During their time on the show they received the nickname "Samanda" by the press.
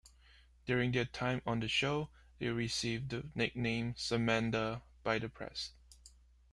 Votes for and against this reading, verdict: 1, 2, rejected